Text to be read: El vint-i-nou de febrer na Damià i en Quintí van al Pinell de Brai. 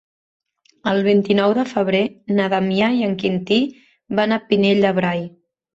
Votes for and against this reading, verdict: 0, 3, rejected